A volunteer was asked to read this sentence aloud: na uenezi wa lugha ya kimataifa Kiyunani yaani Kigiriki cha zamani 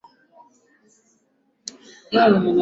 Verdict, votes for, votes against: rejected, 4, 14